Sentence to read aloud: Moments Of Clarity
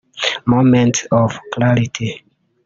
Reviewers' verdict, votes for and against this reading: rejected, 0, 2